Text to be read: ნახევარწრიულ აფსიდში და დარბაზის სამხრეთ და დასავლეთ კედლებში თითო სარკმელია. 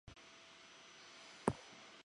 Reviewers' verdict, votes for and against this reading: rejected, 0, 2